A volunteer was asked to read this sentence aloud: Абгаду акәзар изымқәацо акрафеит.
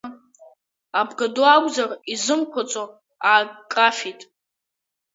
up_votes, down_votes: 4, 0